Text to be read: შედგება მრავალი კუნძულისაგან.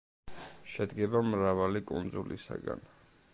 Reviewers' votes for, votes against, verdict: 2, 0, accepted